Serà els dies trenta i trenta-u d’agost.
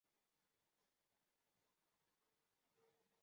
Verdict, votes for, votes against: rejected, 0, 2